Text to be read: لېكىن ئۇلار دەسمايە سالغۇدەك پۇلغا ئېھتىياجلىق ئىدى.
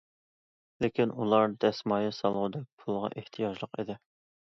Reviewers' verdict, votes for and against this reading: accepted, 2, 0